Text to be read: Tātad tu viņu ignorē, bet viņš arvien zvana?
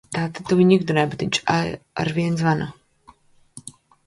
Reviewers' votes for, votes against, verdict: 0, 2, rejected